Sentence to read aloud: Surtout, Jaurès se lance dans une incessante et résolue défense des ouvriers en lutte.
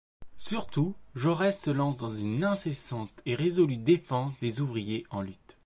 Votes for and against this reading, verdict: 2, 0, accepted